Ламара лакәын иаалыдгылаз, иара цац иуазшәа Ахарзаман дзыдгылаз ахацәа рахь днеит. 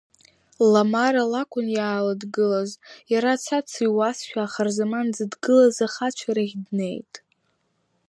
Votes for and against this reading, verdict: 2, 0, accepted